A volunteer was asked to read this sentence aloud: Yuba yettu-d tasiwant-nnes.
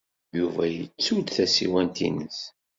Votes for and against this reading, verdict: 2, 0, accepted